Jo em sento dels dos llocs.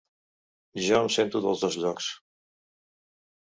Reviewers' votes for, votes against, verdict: 4, 0, accepted